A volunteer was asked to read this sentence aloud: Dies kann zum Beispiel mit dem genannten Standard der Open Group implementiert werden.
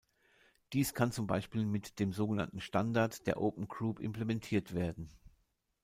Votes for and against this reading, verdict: 1, 2, rejected